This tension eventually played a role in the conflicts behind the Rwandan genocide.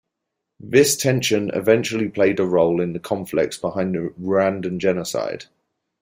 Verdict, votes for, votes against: accepted, 2, 1